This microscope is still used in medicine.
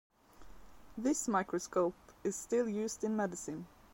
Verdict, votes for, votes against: accepted, 2, 0